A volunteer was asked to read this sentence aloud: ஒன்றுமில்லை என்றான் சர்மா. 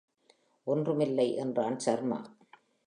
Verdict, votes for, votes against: accepted, 2, 0